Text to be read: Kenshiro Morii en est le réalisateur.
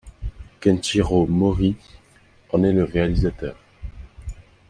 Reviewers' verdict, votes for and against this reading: accepted, 2, 0